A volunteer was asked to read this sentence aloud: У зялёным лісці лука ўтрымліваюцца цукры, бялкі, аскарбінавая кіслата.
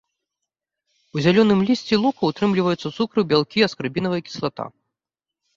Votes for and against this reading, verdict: 0, 2, rejected